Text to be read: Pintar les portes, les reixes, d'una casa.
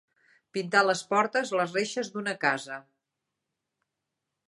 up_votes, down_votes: 2, 0